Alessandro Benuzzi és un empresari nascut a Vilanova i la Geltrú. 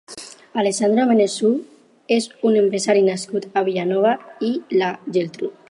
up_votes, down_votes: 2, 4